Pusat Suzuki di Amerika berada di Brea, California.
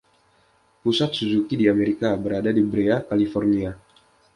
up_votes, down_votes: 2, 1